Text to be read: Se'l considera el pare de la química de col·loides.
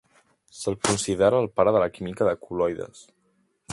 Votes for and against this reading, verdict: 2, 0, accepted